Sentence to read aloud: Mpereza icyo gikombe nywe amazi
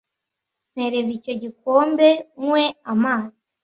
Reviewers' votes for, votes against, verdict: 2, 0, accepted